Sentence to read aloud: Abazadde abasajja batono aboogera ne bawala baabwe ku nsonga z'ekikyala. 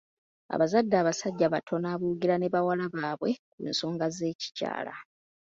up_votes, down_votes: 2, 0